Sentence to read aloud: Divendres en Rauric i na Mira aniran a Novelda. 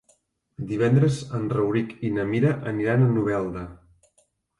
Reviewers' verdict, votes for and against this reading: accepted, 4, 0